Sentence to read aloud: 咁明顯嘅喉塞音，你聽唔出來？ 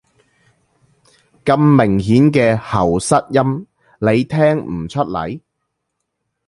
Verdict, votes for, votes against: accepted, 2, 1